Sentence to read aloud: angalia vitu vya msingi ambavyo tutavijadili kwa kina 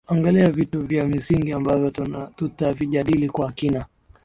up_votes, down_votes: 9, 2